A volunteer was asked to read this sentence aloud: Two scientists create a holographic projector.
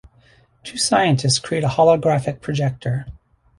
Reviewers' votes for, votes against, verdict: 2, 0, accepted